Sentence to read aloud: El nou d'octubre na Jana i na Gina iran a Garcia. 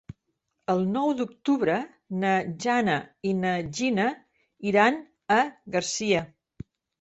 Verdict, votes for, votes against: accepted, 3, 0